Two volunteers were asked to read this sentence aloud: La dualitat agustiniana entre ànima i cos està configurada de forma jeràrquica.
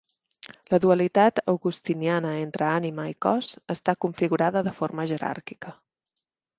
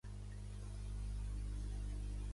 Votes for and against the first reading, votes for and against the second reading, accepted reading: 2, 0, 1, 2, first